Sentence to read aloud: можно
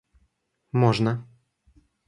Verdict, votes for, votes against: accepted, 2, 0